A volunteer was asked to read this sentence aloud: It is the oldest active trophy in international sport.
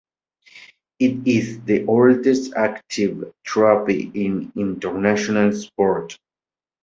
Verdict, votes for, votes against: accepted, 2, 1